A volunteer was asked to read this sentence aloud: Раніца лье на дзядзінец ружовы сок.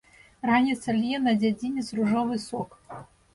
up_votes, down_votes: 2, 0